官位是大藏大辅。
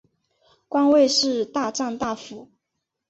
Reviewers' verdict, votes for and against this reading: accepted, 2, 0